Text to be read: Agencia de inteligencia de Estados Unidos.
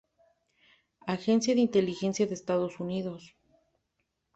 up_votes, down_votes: 2, 0